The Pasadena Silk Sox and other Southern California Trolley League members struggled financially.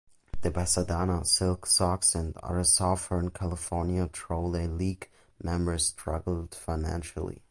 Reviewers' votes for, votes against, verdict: 2, 1, accepted